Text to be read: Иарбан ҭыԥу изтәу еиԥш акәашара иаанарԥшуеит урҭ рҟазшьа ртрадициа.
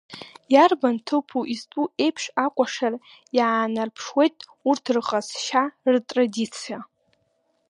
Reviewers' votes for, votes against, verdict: 2, 1, accepted